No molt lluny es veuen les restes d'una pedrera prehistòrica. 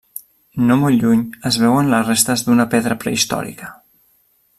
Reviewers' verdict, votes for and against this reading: rejected, 0, 2